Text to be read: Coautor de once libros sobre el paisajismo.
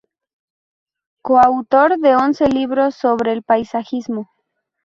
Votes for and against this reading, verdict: 2, 0, accepted